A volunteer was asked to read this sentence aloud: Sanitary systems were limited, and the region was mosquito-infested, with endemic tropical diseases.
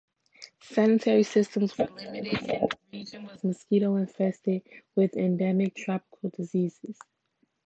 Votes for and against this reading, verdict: 0, 2, rejected